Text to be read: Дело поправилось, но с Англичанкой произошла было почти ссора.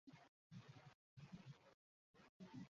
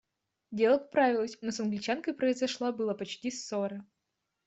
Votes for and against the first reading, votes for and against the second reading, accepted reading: 0, 2, 2, 0, second